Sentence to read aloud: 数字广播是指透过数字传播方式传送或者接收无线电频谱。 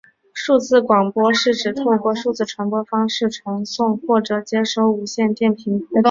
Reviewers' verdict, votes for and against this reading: accepted, 2, 0